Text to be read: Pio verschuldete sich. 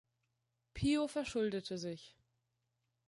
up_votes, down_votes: 2, 0